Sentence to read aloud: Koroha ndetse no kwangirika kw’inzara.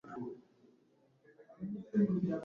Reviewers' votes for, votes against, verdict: 1, 2, rejected